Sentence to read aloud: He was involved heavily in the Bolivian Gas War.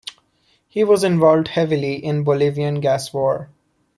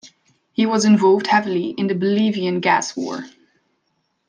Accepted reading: second